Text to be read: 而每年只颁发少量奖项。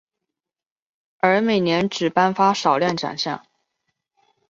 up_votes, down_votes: 2, 0